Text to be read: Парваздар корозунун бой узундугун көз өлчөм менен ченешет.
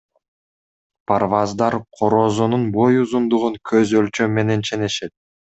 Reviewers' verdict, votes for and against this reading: accepted, 2, 0